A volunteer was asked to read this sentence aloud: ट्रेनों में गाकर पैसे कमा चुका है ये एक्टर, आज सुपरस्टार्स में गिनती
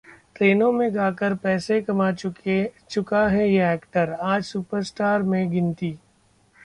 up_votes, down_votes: 1, 2